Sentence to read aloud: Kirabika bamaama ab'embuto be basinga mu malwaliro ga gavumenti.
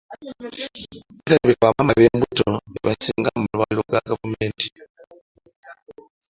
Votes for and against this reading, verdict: 1, 2, rejected